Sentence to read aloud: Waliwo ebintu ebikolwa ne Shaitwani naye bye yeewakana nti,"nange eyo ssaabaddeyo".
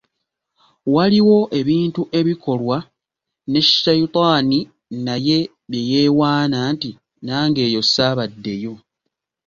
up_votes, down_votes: 1, 2